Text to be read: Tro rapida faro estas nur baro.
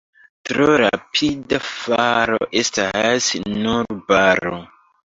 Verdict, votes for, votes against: rejected, 0, 2